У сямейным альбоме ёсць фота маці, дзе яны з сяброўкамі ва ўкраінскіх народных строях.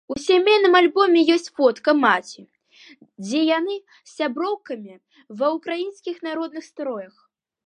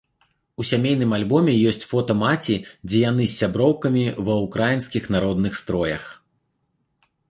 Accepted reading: second